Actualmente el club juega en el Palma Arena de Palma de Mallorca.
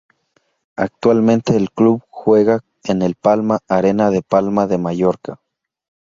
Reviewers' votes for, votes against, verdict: 4, 0, accepted